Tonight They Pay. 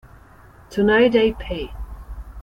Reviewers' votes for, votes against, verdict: 0, 2, rejected